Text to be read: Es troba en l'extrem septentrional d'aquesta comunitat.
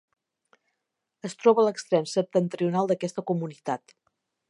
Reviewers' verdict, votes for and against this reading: rejected, 0, 2